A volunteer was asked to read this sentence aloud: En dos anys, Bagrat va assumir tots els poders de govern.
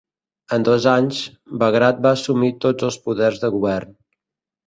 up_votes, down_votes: 2, 0